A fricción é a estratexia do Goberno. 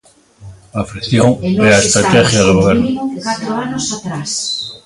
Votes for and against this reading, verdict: 0, 2, rejected